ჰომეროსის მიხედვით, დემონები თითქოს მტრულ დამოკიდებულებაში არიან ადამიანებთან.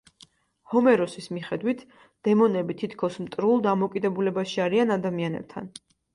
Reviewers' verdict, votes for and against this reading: accepted, 2, 0